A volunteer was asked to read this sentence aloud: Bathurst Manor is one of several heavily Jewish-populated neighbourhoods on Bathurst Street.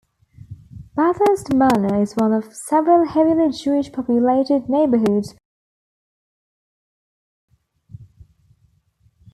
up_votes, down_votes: 2, 1